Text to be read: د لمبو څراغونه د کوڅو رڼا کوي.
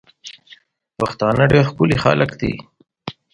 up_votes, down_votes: 1, 2